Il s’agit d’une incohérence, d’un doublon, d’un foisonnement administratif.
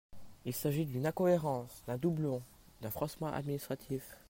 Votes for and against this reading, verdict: 1, 2, rejected